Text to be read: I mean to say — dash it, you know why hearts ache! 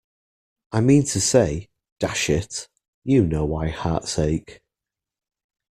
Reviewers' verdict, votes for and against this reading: accepted, 2, 0